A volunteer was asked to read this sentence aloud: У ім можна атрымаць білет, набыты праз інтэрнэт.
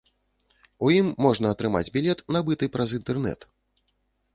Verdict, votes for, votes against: accepted, 2, 0